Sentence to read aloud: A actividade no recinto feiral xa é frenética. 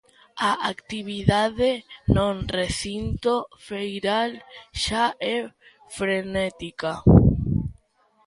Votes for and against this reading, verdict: 0, 2, rejected